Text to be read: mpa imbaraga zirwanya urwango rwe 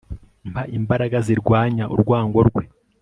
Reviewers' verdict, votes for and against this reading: accepted, 5, 0